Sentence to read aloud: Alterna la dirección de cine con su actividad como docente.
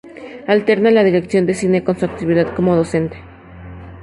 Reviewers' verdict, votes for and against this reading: accepted, 2, 0